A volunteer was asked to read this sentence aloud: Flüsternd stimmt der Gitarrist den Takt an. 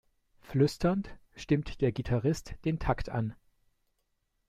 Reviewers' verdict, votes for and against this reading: accepted, 2, 0